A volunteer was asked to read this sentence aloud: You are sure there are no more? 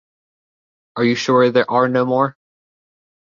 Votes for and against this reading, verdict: 0, 2, rejected